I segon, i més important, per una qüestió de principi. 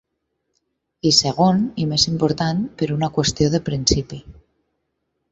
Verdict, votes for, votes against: accepted, 6, 0